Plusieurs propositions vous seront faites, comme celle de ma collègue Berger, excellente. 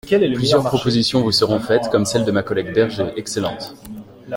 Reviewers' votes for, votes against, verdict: 0, 2, rejected